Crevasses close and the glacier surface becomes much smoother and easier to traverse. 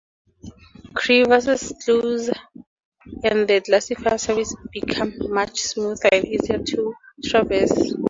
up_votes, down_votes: 2, 0